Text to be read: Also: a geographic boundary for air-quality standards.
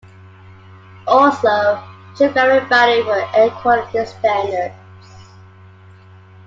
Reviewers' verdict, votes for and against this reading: rejected, 1, 2